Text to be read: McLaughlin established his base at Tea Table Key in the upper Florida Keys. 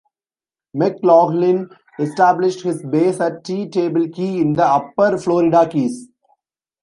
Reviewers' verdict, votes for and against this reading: rejected, 0, 2